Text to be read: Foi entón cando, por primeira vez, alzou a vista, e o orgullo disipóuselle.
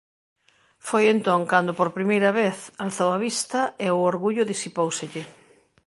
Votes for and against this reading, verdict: 2, 0, accepted